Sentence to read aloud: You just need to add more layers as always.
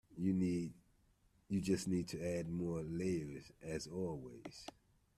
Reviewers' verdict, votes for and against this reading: rejected, 0, 2